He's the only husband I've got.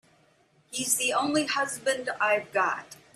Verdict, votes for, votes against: accepted, 2, 0